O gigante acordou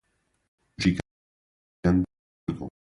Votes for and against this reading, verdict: 2, 0, accepted